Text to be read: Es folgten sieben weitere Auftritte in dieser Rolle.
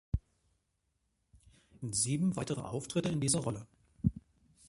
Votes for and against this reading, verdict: 0, 2, rejected